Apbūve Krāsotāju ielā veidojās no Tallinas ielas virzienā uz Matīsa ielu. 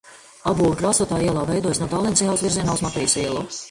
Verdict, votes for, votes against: rejected, 0, 2